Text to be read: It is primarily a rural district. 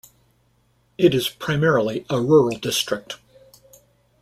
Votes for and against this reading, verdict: 2, 0, accepted